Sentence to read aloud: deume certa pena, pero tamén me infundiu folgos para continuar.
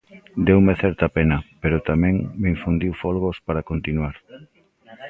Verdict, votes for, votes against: rejected, 1, 2